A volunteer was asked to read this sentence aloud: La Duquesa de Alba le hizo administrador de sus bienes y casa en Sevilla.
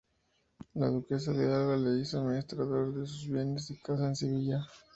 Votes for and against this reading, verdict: 2, 0, accepted